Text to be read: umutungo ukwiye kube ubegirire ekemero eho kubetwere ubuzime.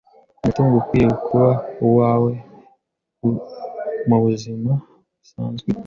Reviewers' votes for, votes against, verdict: 0, 2, rejected